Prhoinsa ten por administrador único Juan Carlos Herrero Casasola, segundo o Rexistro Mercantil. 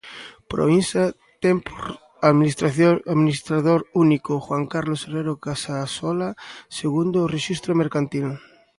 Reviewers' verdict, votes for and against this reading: rejected, 1, 2